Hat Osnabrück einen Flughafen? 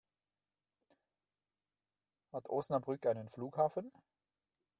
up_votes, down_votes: 1, 2